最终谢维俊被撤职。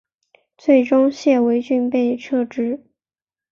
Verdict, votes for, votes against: accepted, 3, 0